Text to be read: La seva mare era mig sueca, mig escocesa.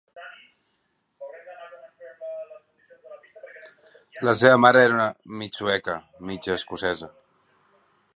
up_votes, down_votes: 1, 2